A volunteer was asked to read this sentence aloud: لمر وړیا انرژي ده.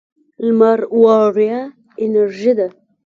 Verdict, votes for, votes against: accepted, 2, 1